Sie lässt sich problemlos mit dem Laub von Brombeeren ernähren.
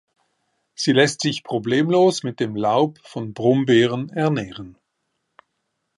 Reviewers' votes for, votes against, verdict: 0, 2, rejected